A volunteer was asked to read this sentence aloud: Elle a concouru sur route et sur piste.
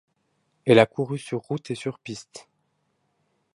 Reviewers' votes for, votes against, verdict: 1, 2, rejected